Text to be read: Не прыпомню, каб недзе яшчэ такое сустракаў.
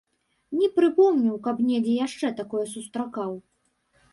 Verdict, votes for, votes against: accepted, 2, 0